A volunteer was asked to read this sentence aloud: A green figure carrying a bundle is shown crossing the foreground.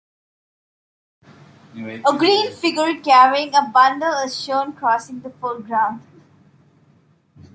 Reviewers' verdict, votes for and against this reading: accepted, 2, 0